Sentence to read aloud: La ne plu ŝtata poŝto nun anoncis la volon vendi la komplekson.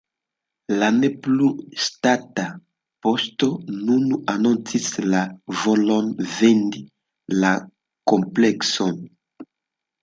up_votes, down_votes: 2, 1